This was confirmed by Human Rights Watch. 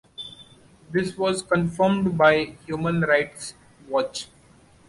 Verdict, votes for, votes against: accepted, 2, 0